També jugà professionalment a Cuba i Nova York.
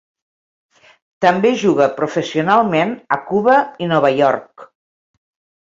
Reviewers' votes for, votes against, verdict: 2, 3, rejected